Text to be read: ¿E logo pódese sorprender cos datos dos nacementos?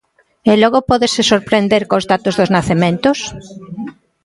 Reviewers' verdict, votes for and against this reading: accepted, 2, 1